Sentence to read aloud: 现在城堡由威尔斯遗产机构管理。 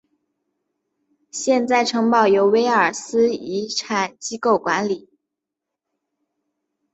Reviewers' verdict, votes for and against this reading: rejected, 1, 2